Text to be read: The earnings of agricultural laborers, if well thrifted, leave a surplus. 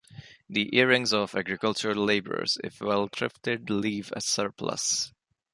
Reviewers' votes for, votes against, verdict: 0, 2, rejected